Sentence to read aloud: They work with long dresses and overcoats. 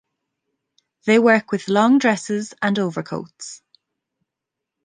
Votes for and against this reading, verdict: 2, 0, accepted